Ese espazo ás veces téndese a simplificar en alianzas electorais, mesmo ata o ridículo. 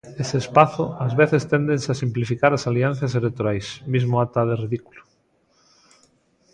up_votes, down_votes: 1, 2